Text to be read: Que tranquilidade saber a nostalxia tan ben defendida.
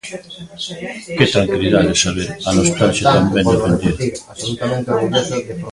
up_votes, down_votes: 0, 2